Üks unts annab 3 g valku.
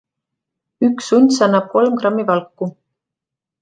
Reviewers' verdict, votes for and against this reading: rejected, 0, 2